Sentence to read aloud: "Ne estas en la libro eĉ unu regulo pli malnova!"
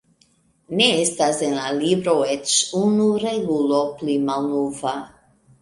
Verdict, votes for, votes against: accepted, 2, 1